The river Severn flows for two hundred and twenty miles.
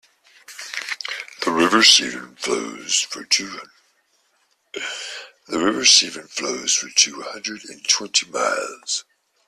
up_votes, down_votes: 0, 2